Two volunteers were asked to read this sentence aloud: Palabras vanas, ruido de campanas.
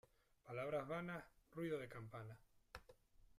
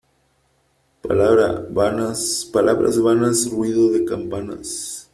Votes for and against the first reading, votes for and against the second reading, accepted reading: 2, 0, 0, 4, first